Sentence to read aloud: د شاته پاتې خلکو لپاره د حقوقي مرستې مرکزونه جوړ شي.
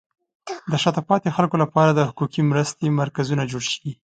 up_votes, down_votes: 5, 2